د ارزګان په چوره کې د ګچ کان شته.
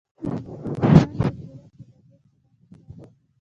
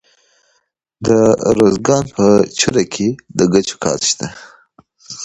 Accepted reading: second